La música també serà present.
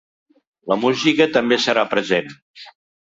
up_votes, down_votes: 4, 0